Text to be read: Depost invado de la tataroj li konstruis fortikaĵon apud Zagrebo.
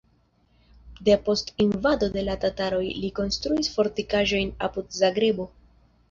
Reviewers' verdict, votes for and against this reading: accepted, 2, 0